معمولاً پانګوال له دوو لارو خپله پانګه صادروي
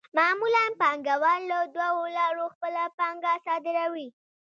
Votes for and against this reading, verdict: 2, 0, accepted